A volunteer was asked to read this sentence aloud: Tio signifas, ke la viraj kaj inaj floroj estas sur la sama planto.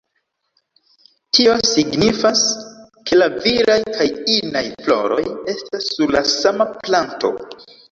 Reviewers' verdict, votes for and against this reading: accepted, 2, 0